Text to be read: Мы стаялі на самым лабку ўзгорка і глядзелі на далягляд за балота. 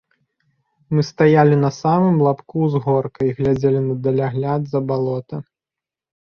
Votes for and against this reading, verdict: 2, 0, accepted